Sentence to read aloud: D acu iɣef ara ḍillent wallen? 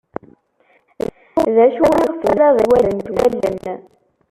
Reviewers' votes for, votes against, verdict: 0, 2, rejected